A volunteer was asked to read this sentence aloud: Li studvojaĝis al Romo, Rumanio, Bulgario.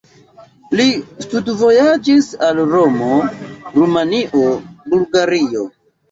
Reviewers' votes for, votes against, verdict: 1, 2, rejected